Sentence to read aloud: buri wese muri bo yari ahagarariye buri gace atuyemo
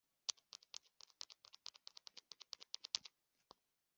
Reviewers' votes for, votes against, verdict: 0, 2, rejected